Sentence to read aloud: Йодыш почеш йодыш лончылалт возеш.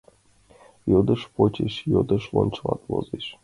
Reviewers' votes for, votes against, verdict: 2, 1, accepted